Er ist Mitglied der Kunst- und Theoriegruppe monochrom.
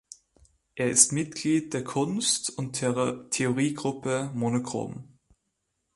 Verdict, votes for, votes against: rejected, 0, 2